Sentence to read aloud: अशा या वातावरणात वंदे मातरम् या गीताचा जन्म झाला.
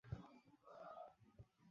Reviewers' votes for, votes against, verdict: 0, 2, rejected